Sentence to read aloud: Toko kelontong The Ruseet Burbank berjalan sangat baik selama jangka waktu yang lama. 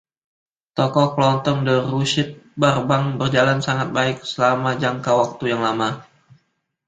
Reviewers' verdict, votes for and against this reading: accepted, 2, 0